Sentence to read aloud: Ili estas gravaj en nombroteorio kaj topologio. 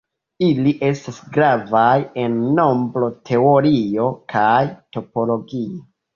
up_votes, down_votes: 0, 2